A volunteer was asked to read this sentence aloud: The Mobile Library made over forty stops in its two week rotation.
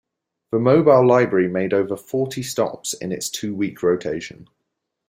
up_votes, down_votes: 2, 0